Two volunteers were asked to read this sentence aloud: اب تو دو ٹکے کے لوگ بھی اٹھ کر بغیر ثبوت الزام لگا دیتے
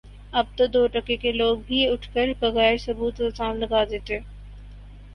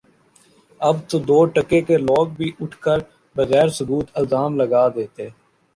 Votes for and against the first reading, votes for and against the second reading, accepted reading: 4, 0, 1, 2, first